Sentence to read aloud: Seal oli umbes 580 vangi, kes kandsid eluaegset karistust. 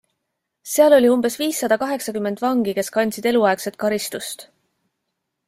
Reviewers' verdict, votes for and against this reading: rejected, 0, 2